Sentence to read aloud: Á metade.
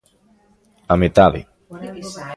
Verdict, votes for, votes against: rejected, 0, 2